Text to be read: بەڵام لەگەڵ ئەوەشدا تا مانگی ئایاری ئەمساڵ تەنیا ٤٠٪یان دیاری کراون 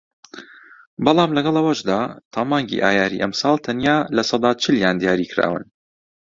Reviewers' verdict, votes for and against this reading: rejected, 0, 2